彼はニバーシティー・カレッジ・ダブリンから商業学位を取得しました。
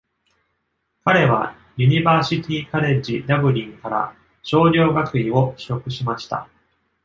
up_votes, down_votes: 1, 2